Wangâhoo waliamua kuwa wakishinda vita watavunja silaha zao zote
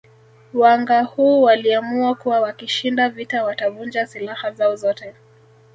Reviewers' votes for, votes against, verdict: 1, 2, rejected